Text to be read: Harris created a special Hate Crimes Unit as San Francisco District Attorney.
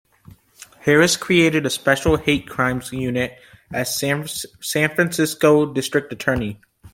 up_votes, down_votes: 0, 2